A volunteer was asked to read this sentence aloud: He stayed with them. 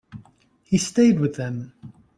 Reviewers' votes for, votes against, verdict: 2, 0, accepted